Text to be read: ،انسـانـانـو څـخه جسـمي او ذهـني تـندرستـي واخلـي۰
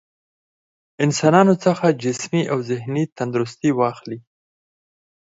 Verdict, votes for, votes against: rejected, 0, 2